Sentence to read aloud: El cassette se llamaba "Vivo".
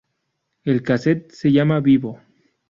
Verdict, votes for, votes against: rejected, 0, 2